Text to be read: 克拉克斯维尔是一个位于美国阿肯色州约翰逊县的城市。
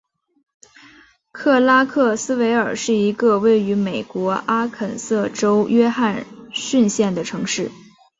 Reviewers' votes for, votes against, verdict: 2, 0, accepted